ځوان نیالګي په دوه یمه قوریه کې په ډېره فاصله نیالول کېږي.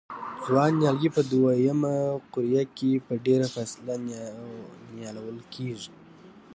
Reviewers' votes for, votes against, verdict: 1, 2, rejected